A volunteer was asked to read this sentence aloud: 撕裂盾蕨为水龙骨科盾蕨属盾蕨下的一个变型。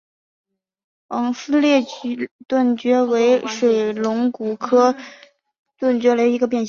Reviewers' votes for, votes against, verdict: 1, 2, rejected